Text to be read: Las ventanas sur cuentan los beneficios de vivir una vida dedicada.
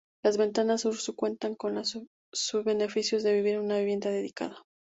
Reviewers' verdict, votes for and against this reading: rejected, 0, 4